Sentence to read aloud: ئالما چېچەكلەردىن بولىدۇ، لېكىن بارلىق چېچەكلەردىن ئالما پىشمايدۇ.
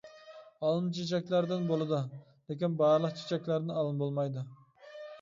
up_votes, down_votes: 0, 2